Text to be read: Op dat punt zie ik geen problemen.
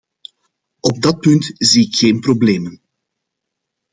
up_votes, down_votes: 2, 0